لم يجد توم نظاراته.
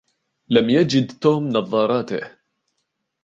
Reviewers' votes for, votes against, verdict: 0, 2, rejected